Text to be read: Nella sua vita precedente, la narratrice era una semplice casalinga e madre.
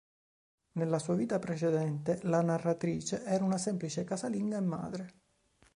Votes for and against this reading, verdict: 2, 0, accepted